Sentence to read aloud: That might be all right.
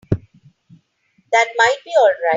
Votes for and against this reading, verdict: 1, 2, rejected